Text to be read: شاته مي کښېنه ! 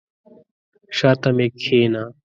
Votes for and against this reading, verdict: 2, 0, accepted